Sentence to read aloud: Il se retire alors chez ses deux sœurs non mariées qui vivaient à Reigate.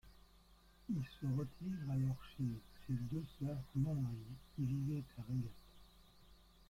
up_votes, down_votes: 0, 2